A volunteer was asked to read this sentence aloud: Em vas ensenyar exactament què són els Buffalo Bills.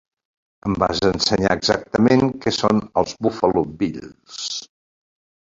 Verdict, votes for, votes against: accepted, 3, 1